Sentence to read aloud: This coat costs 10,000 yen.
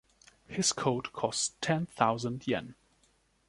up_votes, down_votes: 0, 2